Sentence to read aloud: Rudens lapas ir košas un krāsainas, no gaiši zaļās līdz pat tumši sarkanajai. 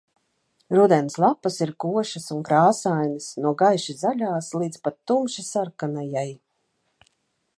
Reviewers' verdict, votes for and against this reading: accepted, 2, 0